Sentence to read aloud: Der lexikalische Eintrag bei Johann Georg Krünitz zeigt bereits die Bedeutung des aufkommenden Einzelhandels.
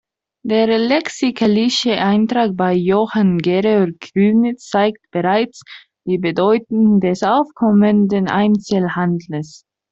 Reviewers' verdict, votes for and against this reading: rejected, 1, 2